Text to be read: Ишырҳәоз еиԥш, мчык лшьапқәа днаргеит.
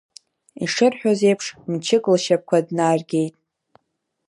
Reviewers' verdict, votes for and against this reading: accepted, 2, 0